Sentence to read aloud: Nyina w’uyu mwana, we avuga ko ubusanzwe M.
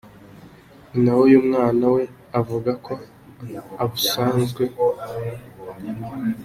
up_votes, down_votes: 0, 3